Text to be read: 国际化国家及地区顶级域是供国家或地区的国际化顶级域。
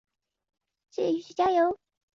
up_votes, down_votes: 0, 2